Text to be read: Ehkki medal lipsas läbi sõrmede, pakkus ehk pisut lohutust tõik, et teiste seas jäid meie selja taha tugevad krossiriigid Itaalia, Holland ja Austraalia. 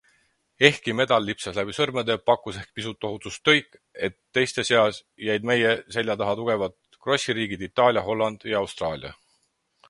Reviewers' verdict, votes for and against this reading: accepted, 6, 0